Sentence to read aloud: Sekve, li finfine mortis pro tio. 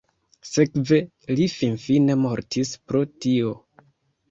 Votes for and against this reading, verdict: 2, 0, accepted